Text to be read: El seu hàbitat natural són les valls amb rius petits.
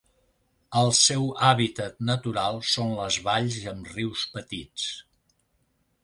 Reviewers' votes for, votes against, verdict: 0, 2, rejected